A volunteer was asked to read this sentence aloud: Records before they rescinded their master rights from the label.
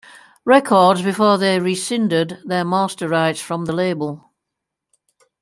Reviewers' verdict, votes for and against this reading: accepted, 2, 0